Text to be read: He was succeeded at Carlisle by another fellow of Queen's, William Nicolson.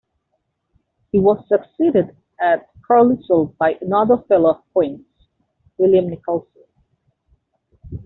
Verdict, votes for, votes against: rejected, 0, 2